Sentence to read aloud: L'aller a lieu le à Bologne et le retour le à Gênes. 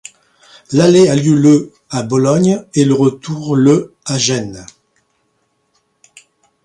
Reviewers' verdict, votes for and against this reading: accepted, 2, 0